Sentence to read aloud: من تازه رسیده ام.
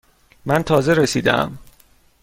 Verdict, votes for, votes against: accepted, 2, 0